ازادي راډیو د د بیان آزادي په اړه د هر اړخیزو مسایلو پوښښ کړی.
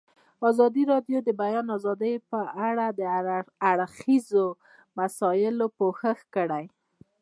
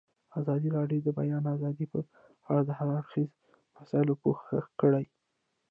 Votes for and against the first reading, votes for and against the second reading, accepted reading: 0, 2, 2, 0, second